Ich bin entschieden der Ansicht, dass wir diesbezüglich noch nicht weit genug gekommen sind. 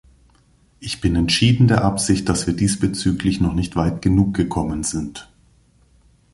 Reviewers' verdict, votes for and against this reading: rejected, 1, 2